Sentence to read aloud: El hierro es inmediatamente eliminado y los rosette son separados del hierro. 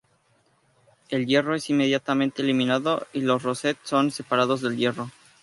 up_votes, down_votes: 2, 0